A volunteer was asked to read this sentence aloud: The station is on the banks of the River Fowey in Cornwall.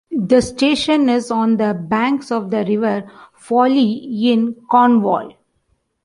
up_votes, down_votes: 2, 1